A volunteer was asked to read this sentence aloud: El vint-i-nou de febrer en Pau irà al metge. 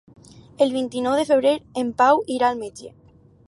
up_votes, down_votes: 2, 0